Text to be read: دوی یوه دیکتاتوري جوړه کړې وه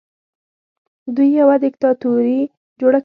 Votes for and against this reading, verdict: 1, 2, rejected